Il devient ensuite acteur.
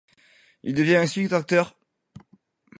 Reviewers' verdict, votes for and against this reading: rejected, 0, 2